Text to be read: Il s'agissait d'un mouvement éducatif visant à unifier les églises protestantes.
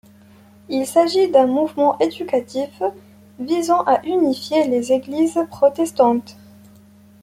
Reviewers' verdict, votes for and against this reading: accepted, 2, 1